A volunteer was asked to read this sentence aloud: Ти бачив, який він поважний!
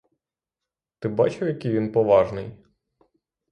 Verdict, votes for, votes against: rejected, 3, 3